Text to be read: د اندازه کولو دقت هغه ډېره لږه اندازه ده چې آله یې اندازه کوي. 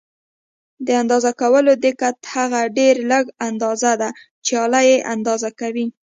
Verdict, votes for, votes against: accepted, 2, 0